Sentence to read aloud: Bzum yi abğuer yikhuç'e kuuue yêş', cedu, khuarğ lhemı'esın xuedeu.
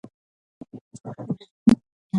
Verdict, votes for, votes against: rejected, 0, 2